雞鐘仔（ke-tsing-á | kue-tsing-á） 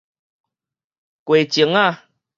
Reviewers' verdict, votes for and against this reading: rejected, 2, 2